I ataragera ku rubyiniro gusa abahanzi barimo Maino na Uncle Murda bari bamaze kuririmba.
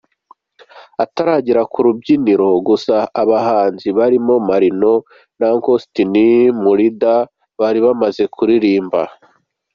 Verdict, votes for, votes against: rejected, 1, 2